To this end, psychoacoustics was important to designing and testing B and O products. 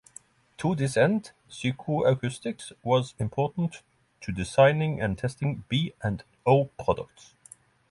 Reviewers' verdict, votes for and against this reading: rejected, 0, 3